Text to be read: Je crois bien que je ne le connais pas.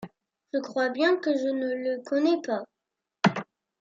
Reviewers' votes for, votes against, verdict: 2, 1, accepted